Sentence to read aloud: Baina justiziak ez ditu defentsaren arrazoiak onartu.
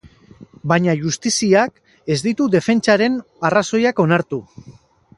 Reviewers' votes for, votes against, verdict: 4, 0, accepted